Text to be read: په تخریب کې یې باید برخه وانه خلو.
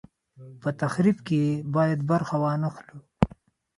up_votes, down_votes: 2, 0